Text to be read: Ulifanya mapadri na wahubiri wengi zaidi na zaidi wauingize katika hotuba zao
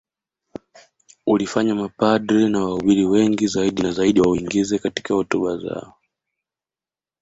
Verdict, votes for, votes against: accepted, 2, 0